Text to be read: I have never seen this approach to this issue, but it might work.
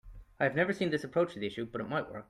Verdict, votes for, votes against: rejected, 0, 2